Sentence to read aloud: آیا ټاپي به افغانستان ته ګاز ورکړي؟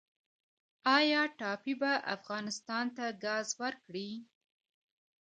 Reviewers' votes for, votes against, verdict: 0, 2, rejected